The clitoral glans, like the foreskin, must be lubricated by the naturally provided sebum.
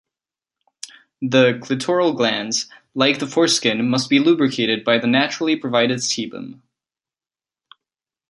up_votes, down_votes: 2, 0